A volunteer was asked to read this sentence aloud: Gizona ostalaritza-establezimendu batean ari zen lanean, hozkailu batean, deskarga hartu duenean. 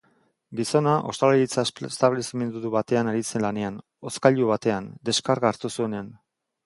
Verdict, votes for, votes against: rejected, 0, 3